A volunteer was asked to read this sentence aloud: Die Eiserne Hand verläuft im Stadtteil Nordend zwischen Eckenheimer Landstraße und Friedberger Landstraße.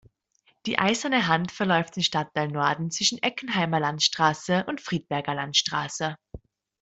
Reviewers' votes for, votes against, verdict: 0, 2, rejected